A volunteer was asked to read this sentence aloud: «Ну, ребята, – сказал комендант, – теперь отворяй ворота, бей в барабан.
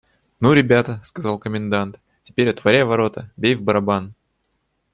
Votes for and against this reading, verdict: 2, 0, accepted